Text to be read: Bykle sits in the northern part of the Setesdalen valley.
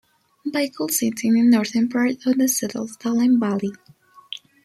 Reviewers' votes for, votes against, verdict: 1, 2, rejected